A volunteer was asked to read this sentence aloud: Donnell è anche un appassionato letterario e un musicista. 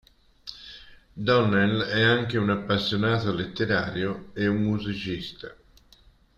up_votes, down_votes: 5, 0